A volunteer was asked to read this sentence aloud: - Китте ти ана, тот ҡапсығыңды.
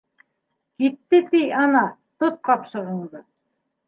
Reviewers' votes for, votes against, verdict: 2, 0, accepted